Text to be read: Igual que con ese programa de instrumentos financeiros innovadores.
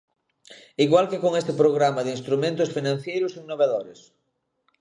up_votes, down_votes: 0, 2